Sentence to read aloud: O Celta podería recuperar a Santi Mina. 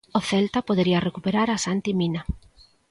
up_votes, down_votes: 2, 0